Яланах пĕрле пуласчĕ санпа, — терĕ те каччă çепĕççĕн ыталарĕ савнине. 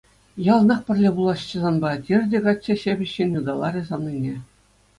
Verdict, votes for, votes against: accepted, 2, 0